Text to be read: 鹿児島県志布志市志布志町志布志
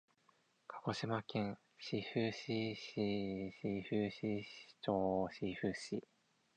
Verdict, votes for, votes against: rejected, 2, 4